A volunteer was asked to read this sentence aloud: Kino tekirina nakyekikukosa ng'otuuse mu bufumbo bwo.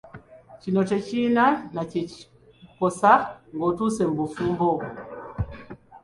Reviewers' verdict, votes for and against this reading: rejected, 0, 2